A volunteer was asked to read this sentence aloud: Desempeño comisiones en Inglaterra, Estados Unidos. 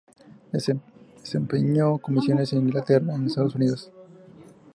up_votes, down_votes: 2, 0